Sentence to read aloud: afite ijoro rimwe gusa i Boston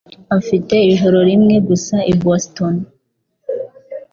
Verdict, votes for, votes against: accepted, 2, 0